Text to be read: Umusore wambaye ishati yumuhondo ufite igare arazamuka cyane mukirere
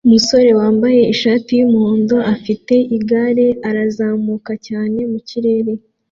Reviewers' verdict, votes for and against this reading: accepted, 2, 0